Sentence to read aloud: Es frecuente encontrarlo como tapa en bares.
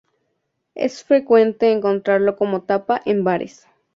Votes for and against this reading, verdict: 4, 0, accepted